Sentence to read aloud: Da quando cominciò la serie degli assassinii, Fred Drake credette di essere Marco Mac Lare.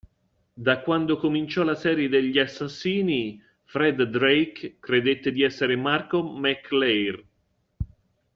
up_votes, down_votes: 2, 0